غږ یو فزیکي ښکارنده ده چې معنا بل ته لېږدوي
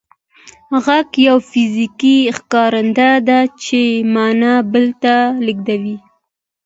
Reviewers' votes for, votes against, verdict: 2, 1, accepted